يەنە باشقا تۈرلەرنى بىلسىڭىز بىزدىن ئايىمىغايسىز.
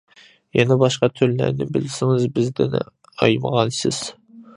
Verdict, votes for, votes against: rejected, 1, 2